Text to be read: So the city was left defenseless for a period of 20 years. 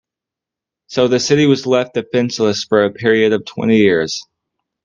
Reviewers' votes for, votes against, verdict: 0, 2, rejected